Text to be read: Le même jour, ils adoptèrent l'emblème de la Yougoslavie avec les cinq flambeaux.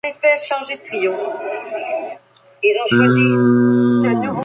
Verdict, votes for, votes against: rejected, 0, 2